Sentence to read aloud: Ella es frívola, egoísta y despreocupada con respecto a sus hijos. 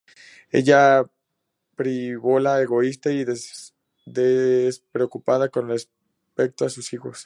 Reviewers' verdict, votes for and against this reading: rejected, 0, 2